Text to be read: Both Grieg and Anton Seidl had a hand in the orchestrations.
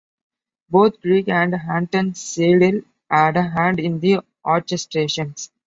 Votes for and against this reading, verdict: 1, 2, rejected